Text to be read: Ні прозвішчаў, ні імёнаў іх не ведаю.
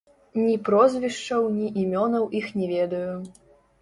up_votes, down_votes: 1, 2